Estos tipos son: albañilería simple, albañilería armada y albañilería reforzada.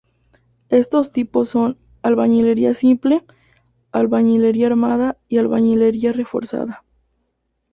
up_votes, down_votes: 4, 0